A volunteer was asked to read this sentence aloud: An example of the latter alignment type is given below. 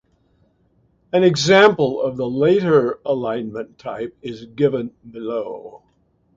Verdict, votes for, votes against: rejected, 0, 2